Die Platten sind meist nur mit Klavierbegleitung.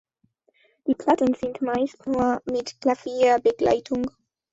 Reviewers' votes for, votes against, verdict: 2, 0, accepted